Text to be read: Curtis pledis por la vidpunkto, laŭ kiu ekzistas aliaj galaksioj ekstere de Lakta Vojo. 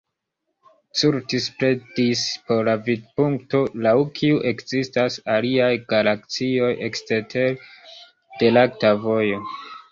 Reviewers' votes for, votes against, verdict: 1, 2, rejected